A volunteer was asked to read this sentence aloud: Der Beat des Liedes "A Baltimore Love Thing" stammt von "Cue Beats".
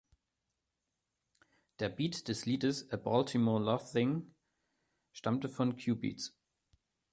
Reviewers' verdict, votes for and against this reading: rejected, 0, 2